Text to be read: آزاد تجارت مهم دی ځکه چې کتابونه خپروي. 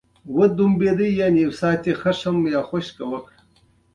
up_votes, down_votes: 0, 2